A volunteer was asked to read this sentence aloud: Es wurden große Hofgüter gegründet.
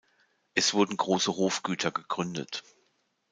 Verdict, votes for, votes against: accepted, 2, 0